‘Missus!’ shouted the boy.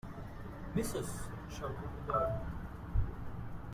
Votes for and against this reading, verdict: 2, 0, accepted